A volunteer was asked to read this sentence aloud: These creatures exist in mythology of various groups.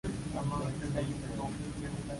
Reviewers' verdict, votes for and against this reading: rejected, 0, 2